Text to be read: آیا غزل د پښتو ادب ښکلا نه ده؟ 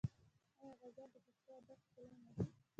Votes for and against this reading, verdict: 2, 0, accepted